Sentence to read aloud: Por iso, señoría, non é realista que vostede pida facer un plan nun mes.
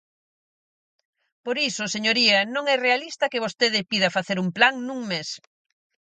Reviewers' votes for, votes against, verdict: 4, 0, accepted